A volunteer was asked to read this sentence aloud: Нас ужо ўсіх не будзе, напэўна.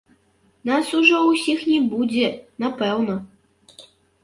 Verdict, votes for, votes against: rejected, 1, 3